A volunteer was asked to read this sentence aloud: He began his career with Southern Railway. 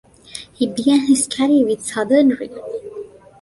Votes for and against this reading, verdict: 2, 1, accepted